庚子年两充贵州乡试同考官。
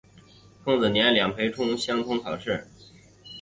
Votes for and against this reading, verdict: 2, 3, rejected